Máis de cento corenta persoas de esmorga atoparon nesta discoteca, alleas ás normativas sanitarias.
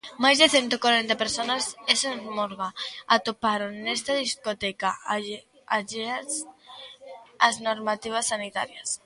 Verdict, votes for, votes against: rejected, 0, 2